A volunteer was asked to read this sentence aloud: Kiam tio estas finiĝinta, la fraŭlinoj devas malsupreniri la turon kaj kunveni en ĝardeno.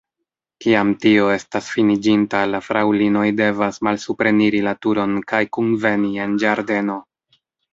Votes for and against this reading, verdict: 2, 1, accepted